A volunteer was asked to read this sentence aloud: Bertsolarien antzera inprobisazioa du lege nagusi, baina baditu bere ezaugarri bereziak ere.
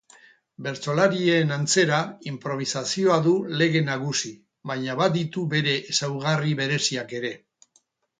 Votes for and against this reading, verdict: 2, 0, accepted